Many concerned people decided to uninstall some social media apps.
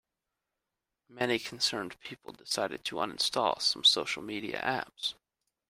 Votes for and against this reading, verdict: 2, 0, accepted